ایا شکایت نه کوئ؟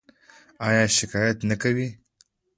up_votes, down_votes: 2, 0